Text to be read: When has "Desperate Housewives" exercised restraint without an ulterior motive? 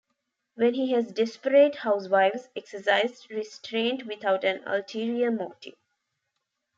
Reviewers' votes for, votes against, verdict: 1, 2, rejected